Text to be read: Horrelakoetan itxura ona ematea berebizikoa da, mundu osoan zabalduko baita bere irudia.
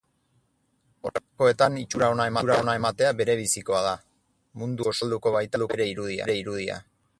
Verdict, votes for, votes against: rejected, 0, 4